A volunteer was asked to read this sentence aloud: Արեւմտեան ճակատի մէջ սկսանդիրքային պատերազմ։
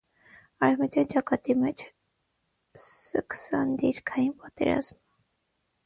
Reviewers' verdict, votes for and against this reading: rejected, 3, 6